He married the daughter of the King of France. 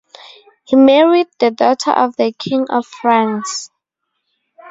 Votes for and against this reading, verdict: 2, 2, rejected